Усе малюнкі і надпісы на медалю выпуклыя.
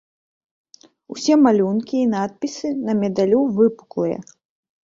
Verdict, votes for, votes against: accepted, 2, 0